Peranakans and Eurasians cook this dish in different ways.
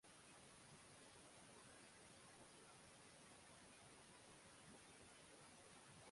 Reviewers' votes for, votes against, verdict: 0, 3, rejected